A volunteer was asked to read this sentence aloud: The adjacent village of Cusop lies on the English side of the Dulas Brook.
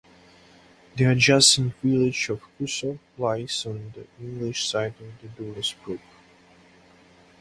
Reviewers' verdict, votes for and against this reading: rejected, 2, 2